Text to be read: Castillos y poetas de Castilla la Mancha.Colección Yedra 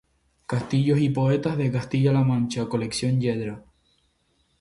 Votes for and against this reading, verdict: 0, 2, rejected